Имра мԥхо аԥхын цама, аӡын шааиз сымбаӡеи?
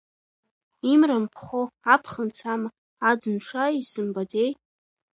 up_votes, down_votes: 2, 0